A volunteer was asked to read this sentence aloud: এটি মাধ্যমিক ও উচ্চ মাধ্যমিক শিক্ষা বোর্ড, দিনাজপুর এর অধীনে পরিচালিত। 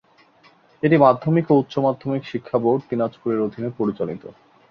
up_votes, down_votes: 2, 0